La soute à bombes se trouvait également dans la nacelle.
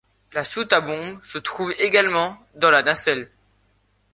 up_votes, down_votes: 1, 2